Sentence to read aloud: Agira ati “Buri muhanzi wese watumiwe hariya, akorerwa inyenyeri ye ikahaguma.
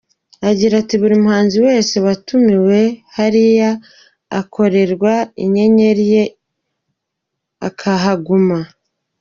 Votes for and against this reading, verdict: 0, 2, rejected